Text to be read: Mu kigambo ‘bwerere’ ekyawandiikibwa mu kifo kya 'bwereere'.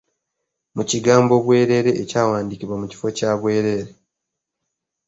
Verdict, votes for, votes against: accepted, 2, 0